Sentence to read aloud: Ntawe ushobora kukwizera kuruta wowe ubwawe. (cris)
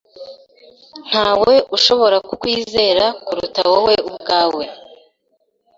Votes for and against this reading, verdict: 1, 2, rejected